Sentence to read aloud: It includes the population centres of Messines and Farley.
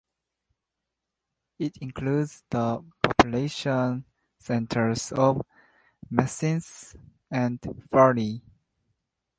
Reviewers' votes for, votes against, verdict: 0, 2, rejected